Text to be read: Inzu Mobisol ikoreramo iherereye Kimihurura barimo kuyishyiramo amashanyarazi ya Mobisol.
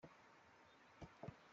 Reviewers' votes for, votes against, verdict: 0, 2, rejected